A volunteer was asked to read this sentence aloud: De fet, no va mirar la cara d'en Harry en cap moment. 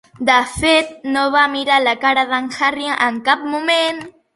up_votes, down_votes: 4, 0